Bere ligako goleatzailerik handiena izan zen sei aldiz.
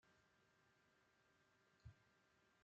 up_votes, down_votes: 0, 2